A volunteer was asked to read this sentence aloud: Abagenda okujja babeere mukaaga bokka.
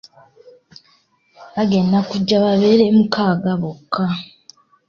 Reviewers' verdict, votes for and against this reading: accepted, 3, 0